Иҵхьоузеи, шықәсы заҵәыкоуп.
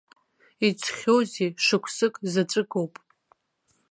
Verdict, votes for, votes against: rejected, 1, 2